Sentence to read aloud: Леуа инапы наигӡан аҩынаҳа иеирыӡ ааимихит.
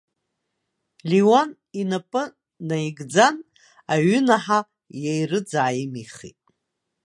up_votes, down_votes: 1, 2